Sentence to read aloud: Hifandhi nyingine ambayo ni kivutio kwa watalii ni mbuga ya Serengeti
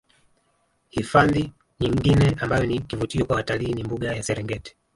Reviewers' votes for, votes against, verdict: 1, 2, rejected